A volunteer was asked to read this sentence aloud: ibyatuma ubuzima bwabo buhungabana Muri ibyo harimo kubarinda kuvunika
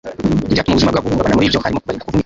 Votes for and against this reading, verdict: 0, 2, rejected